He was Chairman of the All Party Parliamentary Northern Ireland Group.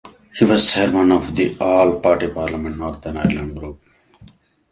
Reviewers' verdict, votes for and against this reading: accepted, 2, 1